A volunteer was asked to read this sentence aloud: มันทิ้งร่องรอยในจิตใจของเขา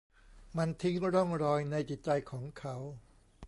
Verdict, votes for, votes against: accepted, 2, 0